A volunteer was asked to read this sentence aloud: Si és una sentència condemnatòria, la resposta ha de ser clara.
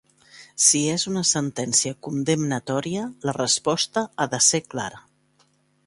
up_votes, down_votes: 2, 0